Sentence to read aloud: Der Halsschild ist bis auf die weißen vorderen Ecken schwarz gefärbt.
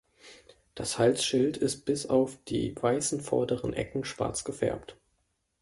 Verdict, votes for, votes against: rejected, 1, 2